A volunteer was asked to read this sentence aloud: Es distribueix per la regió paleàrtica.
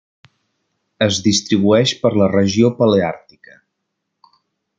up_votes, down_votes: 3, 0